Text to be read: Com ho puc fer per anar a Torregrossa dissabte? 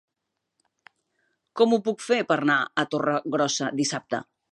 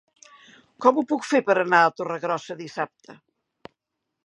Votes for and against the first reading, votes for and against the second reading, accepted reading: 0, 2, 3, 0, second